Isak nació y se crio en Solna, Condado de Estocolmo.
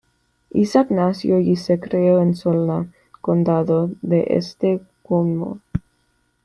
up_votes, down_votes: 1, 2